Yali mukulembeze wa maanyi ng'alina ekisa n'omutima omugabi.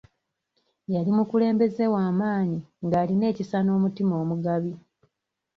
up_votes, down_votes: 3, 0